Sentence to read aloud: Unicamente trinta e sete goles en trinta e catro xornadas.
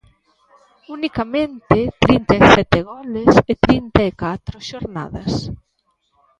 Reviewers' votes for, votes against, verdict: 0, 2, rejected